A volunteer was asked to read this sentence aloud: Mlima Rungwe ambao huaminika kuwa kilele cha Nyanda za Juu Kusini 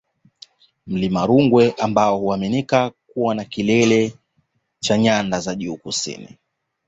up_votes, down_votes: 2, 1